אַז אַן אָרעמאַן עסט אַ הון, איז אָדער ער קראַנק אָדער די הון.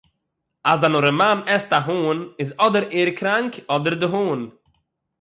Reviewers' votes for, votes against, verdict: 6, 0, accepted